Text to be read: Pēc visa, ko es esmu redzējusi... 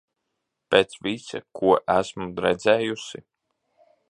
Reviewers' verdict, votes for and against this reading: rejected, 0, 2